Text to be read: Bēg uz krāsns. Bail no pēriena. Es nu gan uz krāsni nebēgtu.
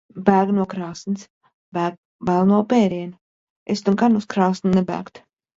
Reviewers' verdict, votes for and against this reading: rejected, 0, 2